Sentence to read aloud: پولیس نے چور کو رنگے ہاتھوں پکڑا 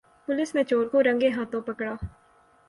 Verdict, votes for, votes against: accepted, 6, 0